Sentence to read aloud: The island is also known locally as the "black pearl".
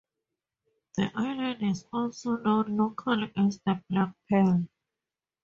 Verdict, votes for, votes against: accepted, 2, 0